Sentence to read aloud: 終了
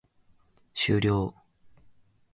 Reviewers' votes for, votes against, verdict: 2, 0, accepted